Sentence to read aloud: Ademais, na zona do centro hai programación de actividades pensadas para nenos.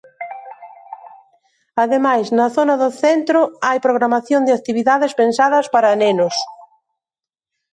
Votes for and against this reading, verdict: 2, 0, accepted